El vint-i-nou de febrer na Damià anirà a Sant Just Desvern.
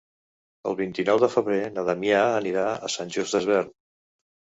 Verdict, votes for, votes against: accepted, 3, 0